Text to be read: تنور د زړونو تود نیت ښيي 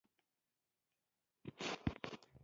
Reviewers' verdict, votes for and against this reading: rejected, 1, 2